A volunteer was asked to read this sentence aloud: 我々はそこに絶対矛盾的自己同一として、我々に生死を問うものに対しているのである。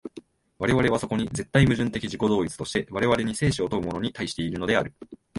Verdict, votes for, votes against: accepted, 2, 0